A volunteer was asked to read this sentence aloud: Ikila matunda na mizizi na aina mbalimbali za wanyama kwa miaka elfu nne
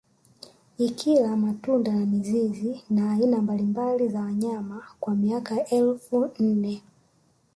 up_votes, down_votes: 1, 2